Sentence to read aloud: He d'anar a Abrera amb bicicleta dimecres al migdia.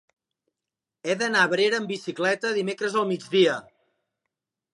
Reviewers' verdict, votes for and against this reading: accepted, 2, 0